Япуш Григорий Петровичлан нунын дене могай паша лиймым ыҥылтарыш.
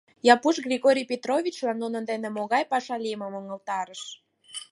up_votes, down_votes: 4, 0